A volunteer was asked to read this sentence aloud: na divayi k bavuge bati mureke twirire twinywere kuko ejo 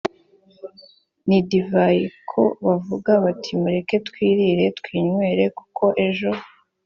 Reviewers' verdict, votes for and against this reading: rejected, 1, 2